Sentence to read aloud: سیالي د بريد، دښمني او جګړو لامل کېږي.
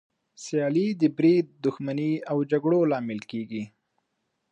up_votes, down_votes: 2, 0